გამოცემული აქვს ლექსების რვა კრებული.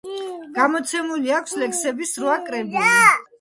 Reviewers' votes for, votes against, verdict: 1, 2, rejected